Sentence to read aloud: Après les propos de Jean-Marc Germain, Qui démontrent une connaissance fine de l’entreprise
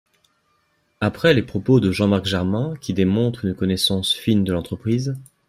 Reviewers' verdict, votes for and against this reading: accepted, 2, 0